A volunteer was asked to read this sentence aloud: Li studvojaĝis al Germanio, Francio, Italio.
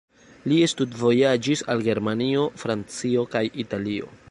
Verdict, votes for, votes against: rejected, 0, 2